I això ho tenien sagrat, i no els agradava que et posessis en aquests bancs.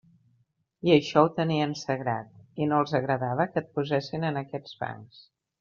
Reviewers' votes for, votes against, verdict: 0, 2, rejected